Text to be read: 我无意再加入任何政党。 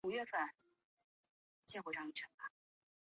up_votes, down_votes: 0, 2